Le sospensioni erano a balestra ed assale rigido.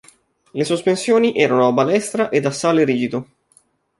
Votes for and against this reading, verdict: 2, 0, accepted